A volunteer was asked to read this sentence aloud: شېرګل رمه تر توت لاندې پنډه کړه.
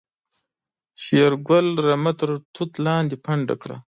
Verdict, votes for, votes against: accepted, 2, 0